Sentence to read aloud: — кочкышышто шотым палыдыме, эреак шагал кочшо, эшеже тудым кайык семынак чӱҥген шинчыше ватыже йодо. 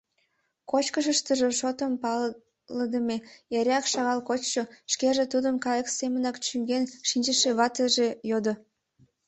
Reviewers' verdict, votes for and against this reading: rejected, 0, 3